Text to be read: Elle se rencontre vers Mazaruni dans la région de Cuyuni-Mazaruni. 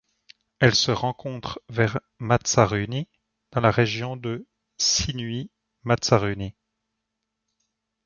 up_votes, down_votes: 1, 2